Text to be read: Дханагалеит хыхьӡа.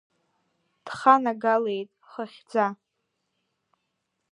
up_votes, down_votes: 1, 2